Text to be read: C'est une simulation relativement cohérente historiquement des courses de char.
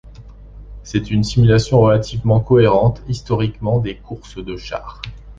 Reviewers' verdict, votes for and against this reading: accepted, 2, 0